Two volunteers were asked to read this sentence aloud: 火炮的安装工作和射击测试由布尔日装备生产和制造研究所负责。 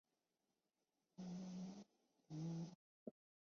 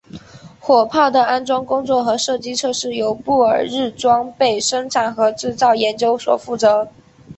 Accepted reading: second